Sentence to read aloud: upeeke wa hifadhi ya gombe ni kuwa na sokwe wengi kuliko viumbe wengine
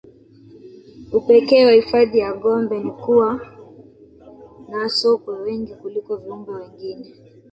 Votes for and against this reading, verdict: 1, 2, rejected